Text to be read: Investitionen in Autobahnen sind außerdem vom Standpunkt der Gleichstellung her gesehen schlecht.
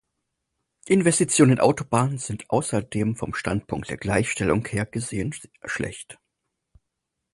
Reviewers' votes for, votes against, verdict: 0, 4, rejected